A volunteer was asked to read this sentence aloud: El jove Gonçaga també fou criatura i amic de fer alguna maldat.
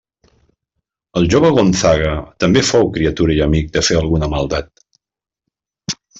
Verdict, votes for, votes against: rejected, 0, 2